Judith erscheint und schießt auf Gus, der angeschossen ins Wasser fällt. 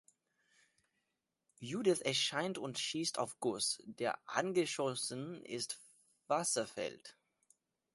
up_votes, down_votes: 0, 2